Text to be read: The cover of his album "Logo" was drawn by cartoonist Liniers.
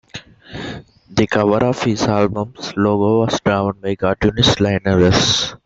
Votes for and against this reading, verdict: 0, 2, rejected